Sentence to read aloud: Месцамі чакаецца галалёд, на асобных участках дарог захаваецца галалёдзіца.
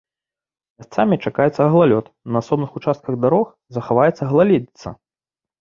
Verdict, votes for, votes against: rejected, 2, 4